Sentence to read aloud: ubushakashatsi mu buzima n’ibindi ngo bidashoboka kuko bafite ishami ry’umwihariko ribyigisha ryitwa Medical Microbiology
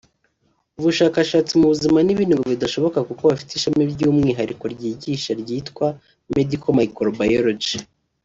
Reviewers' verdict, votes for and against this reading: accepted, 2, 0